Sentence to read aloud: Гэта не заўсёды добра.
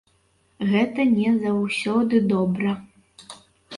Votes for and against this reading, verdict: 2, 0, accepted